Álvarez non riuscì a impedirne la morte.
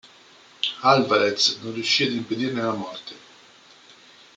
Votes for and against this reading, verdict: 2, 0, accepted